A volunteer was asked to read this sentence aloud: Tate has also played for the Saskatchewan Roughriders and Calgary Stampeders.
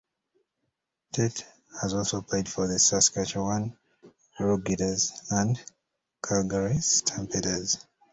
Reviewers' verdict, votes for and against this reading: rejected, 0, 2